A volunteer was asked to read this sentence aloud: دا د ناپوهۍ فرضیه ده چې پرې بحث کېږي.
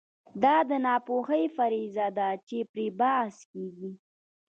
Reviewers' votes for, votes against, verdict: 0, 2, rejected